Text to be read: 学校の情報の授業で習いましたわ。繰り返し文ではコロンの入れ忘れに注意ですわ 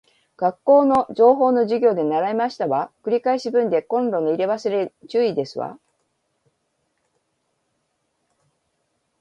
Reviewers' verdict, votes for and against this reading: rejected, 2, 3